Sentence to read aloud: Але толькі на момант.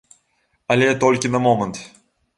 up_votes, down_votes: 1, 2